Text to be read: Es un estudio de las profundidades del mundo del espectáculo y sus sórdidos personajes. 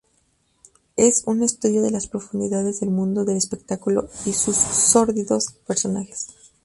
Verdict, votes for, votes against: rejected, 0, 2